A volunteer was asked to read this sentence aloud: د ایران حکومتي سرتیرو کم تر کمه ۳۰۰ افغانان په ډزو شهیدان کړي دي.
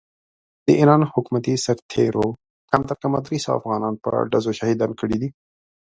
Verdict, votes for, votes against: rejected, 0, 2